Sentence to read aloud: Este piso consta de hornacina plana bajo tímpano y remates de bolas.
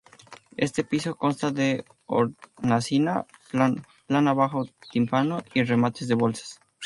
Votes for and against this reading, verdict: 0, 2, rejected